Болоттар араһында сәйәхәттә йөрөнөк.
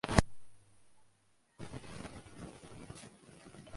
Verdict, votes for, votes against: rejected, 0, 2